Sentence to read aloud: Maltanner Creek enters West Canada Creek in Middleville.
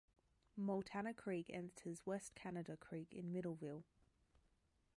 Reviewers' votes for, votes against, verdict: 0, 2, rejected